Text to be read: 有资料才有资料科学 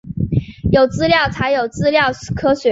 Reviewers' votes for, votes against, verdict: 2, 0, accepted